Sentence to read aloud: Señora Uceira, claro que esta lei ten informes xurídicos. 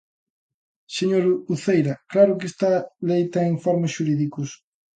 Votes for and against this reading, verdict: 1, 2, rejected